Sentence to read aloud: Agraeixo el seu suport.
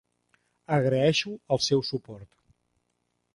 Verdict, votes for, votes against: accepted, 3, 0